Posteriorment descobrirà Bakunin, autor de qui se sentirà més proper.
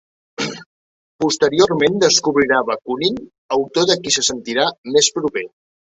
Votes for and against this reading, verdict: 2, 0, accepted